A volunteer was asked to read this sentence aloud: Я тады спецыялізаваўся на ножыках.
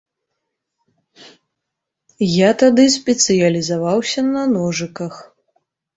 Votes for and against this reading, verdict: 2, 0, accepted